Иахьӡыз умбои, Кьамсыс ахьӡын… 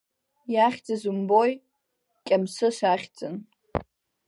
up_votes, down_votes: 2, 0